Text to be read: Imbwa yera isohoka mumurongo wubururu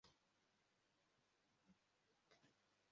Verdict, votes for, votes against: rejected, 0, 2